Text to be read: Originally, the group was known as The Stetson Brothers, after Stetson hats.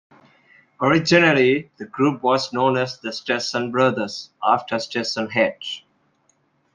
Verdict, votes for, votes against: accepted, 2, 0